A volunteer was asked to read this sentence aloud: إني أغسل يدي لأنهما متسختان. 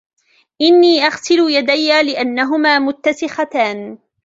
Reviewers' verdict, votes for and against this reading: rejected, 0, 2